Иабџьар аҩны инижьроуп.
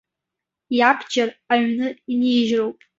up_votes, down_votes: 2, 0